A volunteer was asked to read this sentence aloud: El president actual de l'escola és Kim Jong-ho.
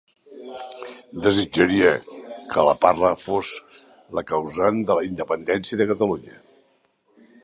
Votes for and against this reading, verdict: 0, 3, rejected